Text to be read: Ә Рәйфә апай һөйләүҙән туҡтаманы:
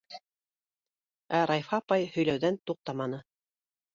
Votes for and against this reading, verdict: 2, 0, accepted